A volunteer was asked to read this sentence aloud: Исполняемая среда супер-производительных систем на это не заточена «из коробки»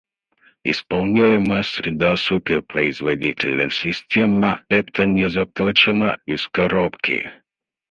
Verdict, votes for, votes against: accepted, 4, 0